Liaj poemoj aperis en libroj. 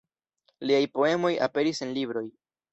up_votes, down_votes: 0, 2